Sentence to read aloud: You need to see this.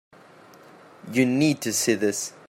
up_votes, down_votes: 2, 0